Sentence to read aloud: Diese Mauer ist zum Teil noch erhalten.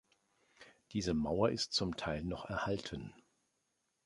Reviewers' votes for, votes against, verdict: 2, 0, accepted